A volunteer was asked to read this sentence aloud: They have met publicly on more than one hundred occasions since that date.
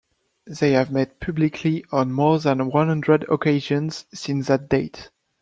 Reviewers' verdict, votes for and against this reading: accepted, 2, 0